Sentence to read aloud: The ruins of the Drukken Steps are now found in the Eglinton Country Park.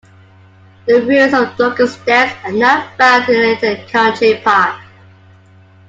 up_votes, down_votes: 0, 2